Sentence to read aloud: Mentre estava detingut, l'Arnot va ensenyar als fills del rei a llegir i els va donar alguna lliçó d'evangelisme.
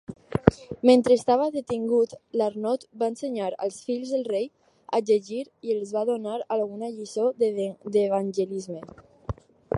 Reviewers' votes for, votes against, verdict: 2, 2, rejected